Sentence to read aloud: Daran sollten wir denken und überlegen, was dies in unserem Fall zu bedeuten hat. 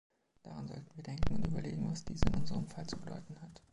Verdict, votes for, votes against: rejected, 1, 2